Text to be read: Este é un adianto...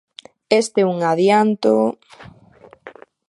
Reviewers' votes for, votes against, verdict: 3, 0, accepted